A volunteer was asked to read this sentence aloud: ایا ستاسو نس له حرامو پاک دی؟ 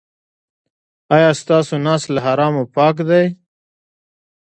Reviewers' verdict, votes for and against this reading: accepted, 2, 0